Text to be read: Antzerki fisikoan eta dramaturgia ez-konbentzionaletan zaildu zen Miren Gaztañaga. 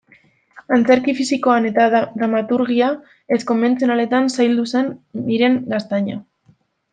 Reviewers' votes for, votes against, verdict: 0, 2, rejected